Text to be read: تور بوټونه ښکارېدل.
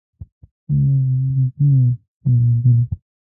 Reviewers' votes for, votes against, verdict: 0, 2, rejected